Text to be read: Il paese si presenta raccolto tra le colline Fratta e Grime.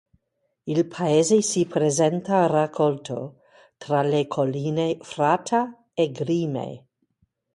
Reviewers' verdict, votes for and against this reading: rejected, 2, 2